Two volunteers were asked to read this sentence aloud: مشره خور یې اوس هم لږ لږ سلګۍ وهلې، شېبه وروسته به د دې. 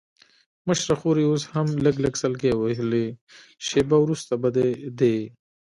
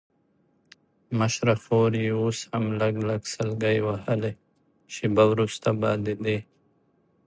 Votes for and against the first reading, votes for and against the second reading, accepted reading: 1, 2, 2, 0, second